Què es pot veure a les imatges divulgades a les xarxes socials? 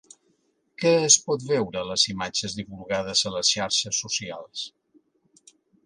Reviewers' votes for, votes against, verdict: 3, 0, accepted